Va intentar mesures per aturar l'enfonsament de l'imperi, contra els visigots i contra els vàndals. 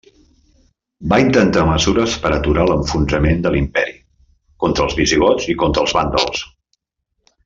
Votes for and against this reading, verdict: 1, 2, rejected